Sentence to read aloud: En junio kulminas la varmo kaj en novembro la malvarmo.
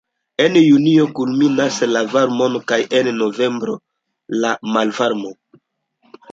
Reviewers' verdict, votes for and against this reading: accepted, 2, 0